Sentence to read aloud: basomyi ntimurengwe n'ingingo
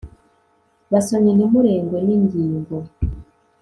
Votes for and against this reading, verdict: 1, 2, rejected